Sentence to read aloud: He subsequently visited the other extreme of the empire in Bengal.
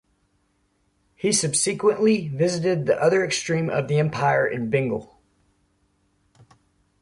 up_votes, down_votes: 1, 2